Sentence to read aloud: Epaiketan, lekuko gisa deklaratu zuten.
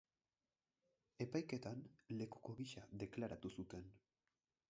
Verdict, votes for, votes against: rejected, 2, 4